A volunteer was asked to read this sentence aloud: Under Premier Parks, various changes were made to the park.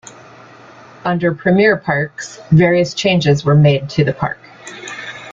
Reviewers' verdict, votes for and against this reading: accepted, 2, 0